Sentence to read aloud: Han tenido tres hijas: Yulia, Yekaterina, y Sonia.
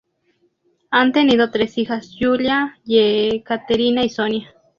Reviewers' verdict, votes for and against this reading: rejected, 0, 2